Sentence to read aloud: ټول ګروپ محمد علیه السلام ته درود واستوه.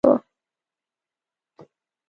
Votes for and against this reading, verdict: 1, 2, rejected